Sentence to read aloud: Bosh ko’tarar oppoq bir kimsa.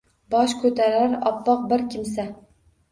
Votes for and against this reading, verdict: 2, 0, accepted